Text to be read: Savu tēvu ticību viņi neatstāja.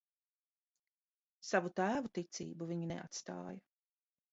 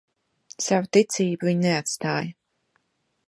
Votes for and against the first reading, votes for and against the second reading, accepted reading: 2, 1, 0, 2, first